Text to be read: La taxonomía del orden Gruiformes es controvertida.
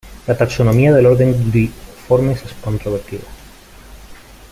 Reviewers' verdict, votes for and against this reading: rejected, 0, 2